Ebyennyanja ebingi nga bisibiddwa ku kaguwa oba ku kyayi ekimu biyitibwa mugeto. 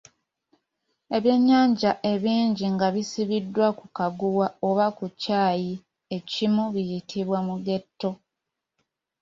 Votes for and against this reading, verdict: 2, 0, accepted